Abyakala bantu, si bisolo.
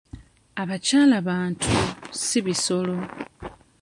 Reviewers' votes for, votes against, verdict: 2, 0, accepted